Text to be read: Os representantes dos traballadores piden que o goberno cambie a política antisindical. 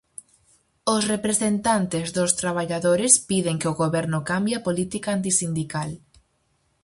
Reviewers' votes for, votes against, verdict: 4, 0, accepted